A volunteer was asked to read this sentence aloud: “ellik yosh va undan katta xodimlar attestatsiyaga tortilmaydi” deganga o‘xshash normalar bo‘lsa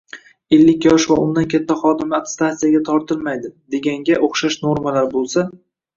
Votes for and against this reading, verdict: 1, 2, rejected